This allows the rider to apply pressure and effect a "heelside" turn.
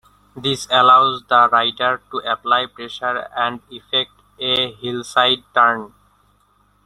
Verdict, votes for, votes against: accepted, 2, 1